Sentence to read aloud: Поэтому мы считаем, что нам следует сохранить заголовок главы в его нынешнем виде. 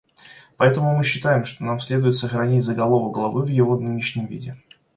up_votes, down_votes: 2, 1